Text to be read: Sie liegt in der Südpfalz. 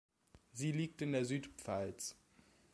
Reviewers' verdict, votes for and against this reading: accepted, 2, 0